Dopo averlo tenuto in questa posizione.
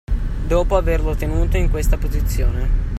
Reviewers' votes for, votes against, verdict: 2, 0, accepted